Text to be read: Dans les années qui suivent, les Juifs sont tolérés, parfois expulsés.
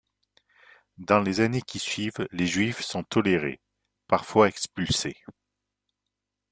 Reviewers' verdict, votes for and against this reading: accepted, 2, 0